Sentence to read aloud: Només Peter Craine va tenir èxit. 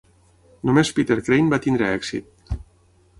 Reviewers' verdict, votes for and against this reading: rejected, 0, 6